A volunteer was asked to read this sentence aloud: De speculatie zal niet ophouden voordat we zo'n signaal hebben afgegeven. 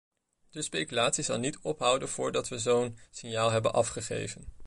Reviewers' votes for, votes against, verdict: 2, 0, accepted